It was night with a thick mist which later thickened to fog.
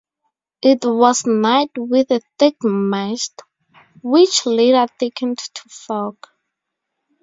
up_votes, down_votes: 0, 2